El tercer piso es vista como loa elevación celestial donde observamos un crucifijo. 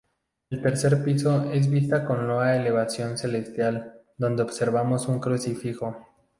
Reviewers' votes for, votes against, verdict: 2, 0, accepted